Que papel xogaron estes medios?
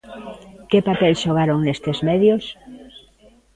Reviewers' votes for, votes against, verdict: 1, 2, rejected